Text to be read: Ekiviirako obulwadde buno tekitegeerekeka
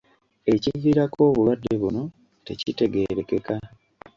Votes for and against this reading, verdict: 2, 0, accepted